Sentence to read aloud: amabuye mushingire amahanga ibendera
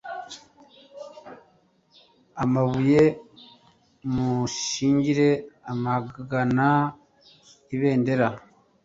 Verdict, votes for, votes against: rejected, 1, 2